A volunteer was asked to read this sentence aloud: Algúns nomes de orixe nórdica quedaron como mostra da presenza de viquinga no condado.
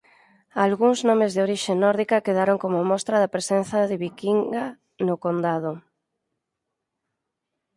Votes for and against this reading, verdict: 2, 4, rejected